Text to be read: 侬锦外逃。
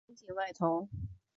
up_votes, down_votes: 1, 2